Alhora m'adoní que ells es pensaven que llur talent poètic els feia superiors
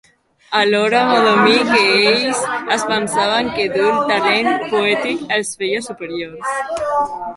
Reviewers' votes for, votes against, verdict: 2, 3, rejected